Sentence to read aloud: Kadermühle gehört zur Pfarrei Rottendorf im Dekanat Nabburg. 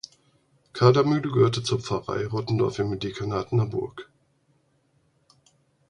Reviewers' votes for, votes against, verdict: 2, 4, rejected